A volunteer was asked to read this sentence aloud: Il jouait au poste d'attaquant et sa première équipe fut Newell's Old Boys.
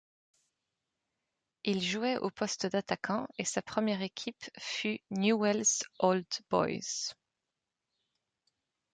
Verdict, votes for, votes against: accepted, 2, 1